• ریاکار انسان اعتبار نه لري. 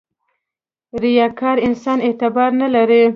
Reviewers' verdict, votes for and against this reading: rejected, 1, 2